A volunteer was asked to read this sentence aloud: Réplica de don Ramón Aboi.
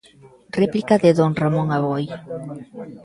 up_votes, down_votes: 1, 2